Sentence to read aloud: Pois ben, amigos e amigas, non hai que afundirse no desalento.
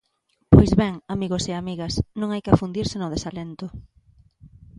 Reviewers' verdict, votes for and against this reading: accepted, 3, 0